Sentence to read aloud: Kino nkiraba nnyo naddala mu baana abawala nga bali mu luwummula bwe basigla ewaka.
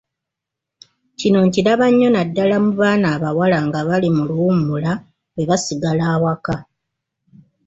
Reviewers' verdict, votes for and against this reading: rejected, 0, 2